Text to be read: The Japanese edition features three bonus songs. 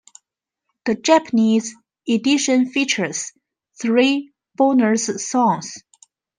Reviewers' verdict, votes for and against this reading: accepted, 2, 0